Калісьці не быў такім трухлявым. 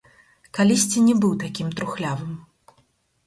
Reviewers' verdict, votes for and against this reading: rejected, 0, 4